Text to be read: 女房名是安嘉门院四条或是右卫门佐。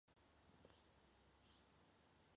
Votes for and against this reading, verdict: 1, 2, rejected